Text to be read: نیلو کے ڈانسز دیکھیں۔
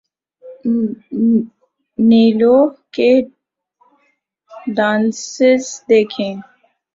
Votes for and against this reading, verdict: 2, 2, rejected